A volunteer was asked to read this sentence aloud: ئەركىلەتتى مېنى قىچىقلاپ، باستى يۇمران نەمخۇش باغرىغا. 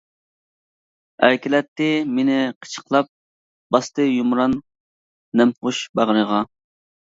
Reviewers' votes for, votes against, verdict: 2, 0, accepted